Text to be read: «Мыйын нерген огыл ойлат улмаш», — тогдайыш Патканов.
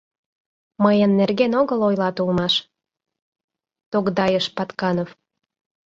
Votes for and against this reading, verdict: 2, 0, accepted